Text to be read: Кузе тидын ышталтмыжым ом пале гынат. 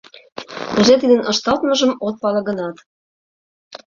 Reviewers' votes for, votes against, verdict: 0, 2, rejected